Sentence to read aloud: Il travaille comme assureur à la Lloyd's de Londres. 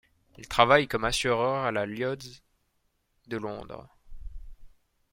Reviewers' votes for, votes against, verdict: 1, 2, rejected